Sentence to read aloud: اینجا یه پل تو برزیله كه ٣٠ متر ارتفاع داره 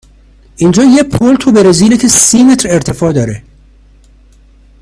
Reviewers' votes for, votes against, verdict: 0, 2, rejected